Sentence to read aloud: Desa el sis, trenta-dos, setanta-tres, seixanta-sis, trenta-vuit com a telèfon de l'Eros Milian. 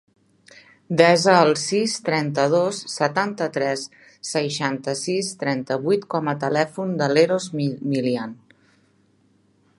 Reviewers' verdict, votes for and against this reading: rejected, 0, 2